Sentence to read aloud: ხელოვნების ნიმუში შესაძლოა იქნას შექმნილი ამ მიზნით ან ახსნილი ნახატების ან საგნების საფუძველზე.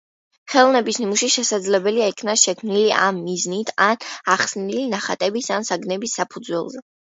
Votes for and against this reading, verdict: 2, 1, accepted